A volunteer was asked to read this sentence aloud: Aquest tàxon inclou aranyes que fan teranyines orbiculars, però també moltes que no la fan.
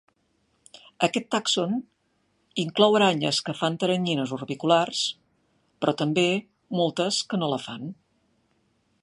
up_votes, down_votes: 2, 0